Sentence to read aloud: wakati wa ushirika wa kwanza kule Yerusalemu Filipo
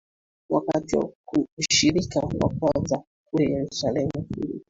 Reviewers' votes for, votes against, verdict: 2, 0, accepted